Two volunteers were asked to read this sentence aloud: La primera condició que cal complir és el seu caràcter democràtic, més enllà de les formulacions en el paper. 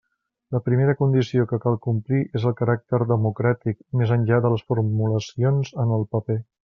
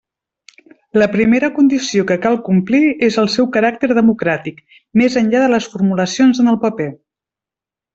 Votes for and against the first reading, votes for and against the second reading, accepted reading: 0, 2, 3, 0, second